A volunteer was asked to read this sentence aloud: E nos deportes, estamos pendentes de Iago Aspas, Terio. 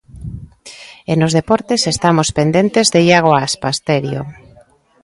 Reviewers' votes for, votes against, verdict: 2, 0, accepted